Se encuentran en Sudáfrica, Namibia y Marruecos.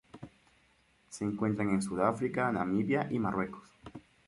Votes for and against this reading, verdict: 0, 2, rejected